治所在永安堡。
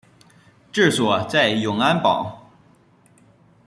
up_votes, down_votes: 2, 0